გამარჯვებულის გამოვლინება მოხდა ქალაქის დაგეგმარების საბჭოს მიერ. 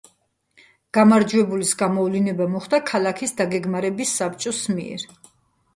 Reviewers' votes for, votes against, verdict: 2, 0, accepted